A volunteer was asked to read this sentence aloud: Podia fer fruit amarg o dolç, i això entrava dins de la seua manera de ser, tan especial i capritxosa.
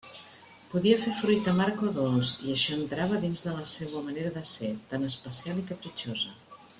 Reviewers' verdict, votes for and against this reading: accepted, 2, 0